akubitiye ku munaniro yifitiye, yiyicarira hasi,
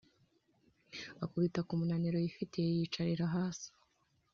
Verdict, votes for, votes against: accepted, 3, 0